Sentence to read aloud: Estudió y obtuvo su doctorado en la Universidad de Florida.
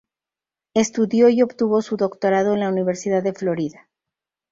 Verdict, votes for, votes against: accepted, 2, 0